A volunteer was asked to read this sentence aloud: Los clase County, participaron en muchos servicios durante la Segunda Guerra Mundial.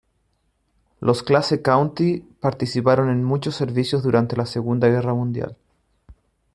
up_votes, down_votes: 2, 0